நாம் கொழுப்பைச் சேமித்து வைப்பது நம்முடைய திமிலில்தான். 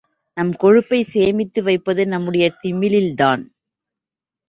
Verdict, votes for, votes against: rejected, 1, 2